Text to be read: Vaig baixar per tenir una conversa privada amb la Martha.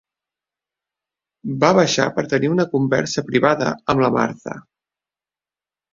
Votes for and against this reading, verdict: 0, 2, rejected